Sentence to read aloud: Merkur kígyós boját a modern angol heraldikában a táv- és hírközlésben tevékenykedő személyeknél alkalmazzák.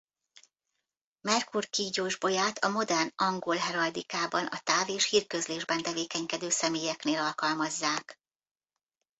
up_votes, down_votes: 1, 2